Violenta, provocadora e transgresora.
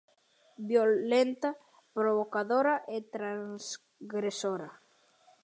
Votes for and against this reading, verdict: 0, 2, rejected